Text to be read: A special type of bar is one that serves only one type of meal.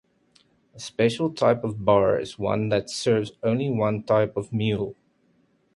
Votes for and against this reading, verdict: 2, 0, accepted